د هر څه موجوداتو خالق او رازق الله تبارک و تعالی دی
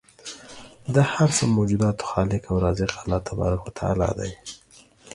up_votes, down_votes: 2, 0